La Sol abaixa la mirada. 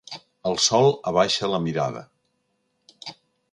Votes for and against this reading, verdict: 1, 2, rejected